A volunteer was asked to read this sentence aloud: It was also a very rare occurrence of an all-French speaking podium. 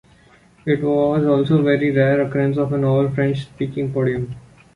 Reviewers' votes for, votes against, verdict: 2, 3, rejected